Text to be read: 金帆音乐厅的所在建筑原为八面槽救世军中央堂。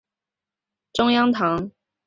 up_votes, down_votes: 0, 2